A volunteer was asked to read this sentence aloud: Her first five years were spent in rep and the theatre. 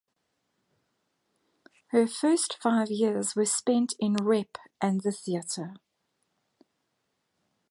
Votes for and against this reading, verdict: 2, 1, accepted